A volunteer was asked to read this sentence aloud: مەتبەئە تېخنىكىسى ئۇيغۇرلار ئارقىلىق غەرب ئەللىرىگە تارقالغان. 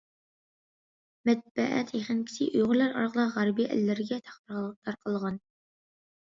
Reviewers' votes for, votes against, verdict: 0, 2, rejected